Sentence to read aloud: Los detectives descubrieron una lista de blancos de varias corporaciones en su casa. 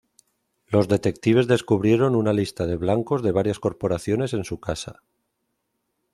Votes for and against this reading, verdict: 2, 0, accepted